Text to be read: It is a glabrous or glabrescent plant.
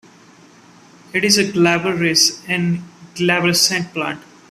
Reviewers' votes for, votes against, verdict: 0, 2, rejected